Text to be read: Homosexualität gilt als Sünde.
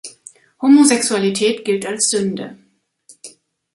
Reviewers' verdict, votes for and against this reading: accepted, 2, 0